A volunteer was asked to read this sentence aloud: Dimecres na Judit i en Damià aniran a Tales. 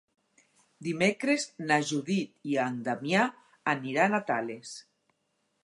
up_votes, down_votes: 6, 0